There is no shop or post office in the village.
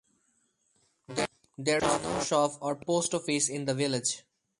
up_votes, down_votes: 0, 2